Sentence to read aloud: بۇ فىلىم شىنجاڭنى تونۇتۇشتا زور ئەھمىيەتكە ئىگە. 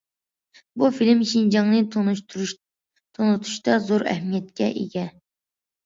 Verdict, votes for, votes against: rejected, 0, 2